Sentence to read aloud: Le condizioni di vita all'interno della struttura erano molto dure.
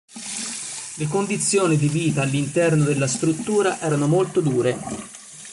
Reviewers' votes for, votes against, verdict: 1, 2, rejected